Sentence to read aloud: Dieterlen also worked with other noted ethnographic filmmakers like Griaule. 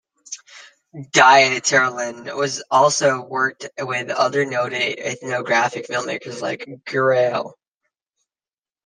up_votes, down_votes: 0, 2